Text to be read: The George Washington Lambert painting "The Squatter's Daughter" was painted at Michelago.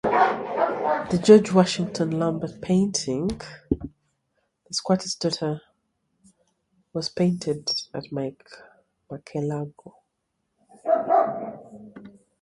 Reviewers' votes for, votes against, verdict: 0, 2, rejected